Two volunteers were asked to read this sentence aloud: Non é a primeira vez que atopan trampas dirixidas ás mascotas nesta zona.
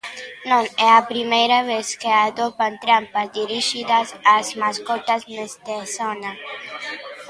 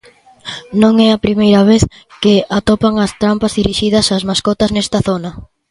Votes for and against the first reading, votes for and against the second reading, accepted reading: 1, 2, 2, 1, second